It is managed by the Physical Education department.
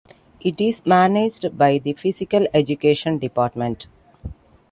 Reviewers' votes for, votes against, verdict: 2, 0, accepted